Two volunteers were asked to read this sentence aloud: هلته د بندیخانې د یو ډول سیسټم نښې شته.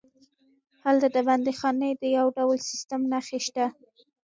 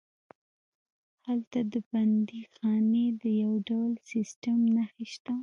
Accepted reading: second